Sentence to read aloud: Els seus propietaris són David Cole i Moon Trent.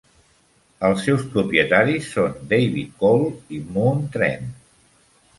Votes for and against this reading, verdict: 2, 0, accepted